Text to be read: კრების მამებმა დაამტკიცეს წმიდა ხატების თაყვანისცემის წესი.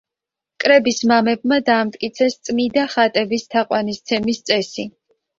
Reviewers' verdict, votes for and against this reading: accepted, 2, 0